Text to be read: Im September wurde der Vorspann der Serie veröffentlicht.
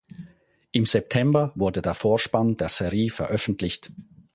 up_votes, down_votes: 0, 4